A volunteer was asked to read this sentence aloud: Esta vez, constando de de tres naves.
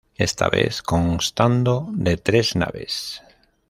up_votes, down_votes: 2, 0